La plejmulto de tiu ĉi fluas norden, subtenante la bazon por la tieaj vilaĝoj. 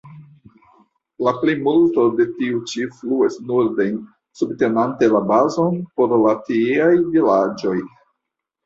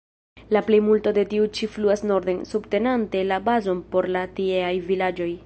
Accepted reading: first